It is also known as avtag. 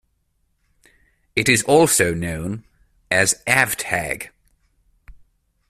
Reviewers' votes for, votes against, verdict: 2, 0, accepted